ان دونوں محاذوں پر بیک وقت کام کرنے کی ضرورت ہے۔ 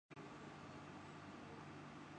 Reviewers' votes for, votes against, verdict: 0, 2, rejected